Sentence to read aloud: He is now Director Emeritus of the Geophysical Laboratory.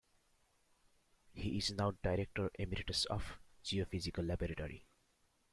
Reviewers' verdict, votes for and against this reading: accepted, 2, 1